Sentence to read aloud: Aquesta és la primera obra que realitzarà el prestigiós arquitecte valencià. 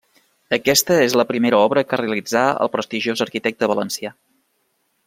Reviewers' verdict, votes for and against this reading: rejected, 1, 2